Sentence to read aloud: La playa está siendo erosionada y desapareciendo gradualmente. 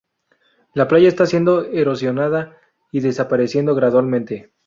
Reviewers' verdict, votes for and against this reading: accepted, 4, 0